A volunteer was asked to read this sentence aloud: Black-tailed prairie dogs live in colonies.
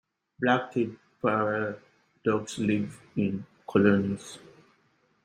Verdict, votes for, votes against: rejected, 1, 2